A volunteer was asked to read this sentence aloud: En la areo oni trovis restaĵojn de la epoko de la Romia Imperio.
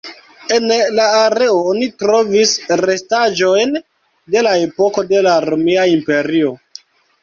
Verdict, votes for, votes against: rejected, 1, 2